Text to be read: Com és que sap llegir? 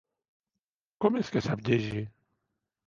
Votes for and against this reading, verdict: 3, 0, accepted